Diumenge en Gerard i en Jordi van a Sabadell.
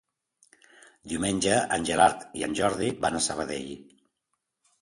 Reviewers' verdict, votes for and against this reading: accepted, 2, 0